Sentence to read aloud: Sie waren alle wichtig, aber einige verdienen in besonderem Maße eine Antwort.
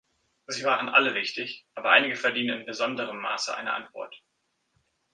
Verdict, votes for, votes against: accepted, 2, 0